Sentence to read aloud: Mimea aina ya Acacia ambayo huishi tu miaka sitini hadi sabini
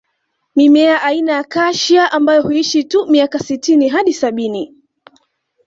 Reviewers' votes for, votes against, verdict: 2, 0, accepted